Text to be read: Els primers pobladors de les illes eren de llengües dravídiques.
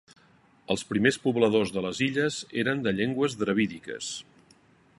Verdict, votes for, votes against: accepted, 2, 0